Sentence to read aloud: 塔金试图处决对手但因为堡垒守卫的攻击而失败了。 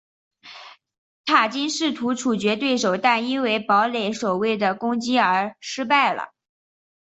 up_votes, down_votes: 4, 0